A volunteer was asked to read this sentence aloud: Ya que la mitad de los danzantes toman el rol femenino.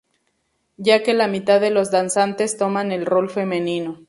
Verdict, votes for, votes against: accepted, 2, 0